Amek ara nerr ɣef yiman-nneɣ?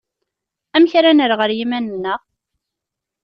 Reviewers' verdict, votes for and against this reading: rejected, 0, 2